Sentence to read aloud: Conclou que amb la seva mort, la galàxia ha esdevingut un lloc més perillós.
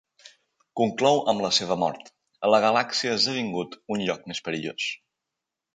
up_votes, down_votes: 0, 2